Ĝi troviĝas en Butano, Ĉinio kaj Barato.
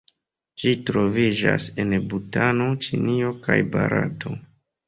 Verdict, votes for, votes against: rejected, 1, 2